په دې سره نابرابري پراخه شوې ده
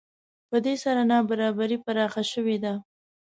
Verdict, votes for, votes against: accepted, 2, 0